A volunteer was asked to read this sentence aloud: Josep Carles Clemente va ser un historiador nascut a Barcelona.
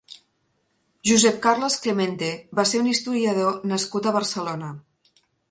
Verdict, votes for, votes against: accepted, 2, 0